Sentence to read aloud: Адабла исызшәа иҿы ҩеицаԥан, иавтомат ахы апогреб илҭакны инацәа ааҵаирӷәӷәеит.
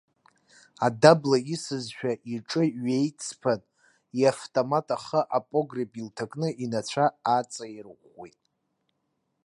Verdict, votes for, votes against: rejected, 1, 2